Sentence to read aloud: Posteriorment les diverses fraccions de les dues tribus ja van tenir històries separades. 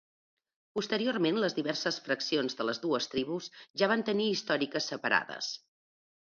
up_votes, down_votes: 0, 2